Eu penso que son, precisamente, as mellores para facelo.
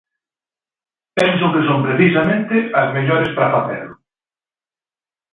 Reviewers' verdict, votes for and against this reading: rejected, 0, 3